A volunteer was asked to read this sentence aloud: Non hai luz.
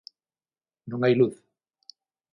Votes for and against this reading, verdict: 6, 0, accepted